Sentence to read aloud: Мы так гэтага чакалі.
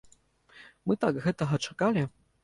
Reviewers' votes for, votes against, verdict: 2, 0, accepted